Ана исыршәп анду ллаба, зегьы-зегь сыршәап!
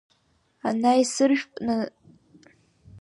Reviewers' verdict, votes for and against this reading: rejected, 0, 2